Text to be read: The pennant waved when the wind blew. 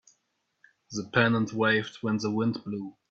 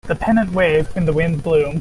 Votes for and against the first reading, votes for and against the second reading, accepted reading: 1, 2, 2, 0, second